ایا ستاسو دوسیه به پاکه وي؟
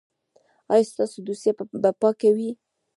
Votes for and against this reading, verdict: 1, 2, rejected